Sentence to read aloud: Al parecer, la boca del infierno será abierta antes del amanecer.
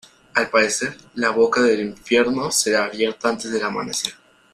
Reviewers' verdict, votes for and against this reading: accepted, 2, 1